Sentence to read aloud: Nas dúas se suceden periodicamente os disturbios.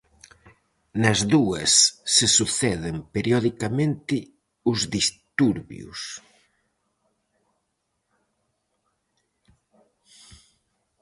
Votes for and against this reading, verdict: 4, 0, accepted